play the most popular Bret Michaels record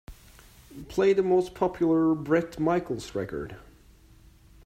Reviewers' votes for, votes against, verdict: 2, 0, accepted